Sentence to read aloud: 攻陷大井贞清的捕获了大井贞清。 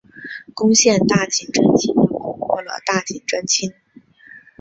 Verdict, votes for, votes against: rejected, 2, 3